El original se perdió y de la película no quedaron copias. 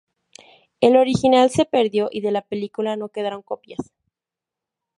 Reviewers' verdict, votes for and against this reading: accepted, 2, 0